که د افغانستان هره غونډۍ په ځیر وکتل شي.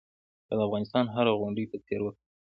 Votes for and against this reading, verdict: 1, 2, rejected